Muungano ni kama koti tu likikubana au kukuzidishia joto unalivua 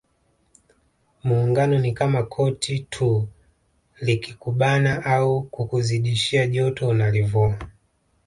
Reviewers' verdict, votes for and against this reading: accepted, 2, 0